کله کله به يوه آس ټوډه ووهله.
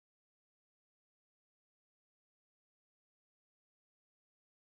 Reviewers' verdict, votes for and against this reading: rejected, 1, 2